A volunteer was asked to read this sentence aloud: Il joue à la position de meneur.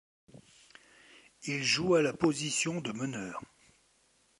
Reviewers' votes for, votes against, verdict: 2, 0, accepted